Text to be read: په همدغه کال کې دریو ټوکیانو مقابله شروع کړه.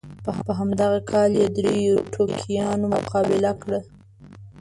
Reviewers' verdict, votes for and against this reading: rejected, 1, 2